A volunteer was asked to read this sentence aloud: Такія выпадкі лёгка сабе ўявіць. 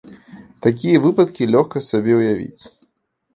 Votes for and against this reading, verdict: 2, 0, accepted